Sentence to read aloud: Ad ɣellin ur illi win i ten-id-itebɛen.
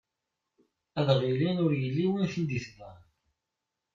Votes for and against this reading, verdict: 0, 2, rejected